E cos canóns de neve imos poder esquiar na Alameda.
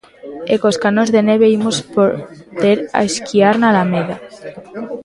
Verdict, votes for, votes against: rejected, 0, 2